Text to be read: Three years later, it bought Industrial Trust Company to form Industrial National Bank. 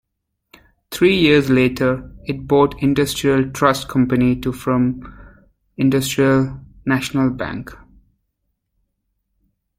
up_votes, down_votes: 0, 2